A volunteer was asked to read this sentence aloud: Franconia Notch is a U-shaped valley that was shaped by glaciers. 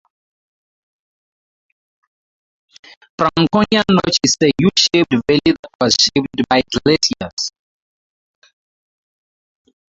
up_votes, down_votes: 0, 2